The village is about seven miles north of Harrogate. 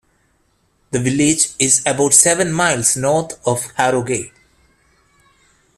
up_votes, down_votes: 1, 2